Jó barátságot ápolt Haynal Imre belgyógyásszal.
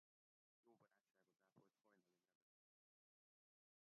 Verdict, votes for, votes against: rejected, 0, 2